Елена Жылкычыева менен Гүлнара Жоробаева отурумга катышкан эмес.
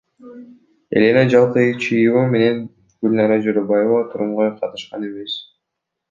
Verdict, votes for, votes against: rejected, 0, 2